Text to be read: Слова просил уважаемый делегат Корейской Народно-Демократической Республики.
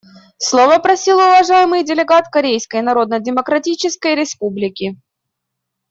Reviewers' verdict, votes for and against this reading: accepted, 2, 0